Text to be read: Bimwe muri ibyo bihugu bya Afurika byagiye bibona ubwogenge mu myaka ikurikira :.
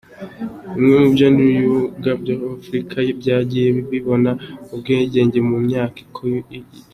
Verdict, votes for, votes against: rejected, 0, 2